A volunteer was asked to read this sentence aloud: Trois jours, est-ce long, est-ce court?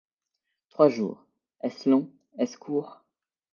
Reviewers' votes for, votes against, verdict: 2, 0, accepted